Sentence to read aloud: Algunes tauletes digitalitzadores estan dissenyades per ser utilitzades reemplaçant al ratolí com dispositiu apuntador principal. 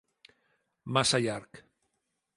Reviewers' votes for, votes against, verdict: 0, 2, rejected